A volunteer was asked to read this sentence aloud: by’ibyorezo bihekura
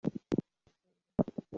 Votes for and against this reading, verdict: 0, 2, rejected